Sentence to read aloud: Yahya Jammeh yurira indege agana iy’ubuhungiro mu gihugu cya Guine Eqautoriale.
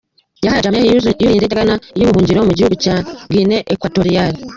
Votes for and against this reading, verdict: 1, 2, rejected